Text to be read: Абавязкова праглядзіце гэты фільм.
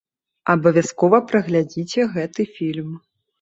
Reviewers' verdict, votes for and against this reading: accepted, 2, 0